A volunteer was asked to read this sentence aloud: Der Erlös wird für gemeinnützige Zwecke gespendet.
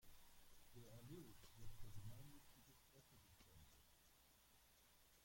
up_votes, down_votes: 0, 2